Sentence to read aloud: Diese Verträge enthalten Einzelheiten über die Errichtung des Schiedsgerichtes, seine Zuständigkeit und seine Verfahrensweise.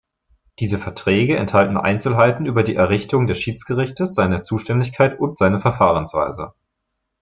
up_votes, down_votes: 2, 0